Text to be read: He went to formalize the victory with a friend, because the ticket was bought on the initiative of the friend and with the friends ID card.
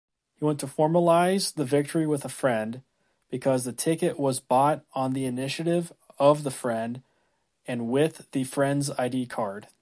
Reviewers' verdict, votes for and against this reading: accepted, 2, 1